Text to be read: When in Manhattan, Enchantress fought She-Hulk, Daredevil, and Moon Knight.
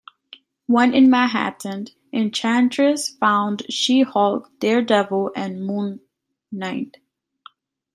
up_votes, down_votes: 0, 2